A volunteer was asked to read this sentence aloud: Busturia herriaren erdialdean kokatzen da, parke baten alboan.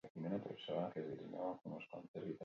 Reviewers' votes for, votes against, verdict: 0, 6, rejected